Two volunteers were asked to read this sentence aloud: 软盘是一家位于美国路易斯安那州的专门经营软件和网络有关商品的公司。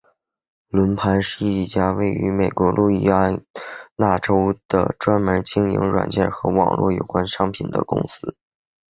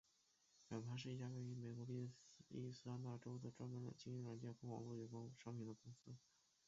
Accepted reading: first